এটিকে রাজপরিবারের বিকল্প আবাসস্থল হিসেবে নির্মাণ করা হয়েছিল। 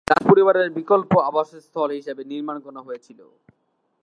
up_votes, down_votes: 0, 10